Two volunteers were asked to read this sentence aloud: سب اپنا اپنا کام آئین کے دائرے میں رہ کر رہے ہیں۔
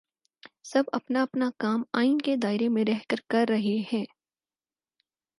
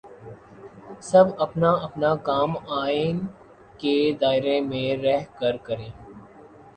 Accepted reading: first